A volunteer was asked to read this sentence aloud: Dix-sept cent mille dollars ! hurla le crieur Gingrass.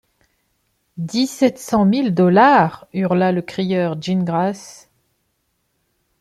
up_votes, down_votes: 2, 0